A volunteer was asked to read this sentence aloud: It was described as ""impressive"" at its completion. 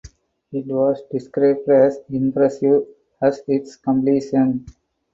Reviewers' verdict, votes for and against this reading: accepted, 4, 2